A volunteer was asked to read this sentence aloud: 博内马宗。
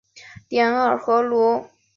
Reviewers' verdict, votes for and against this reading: rejected, 0, 2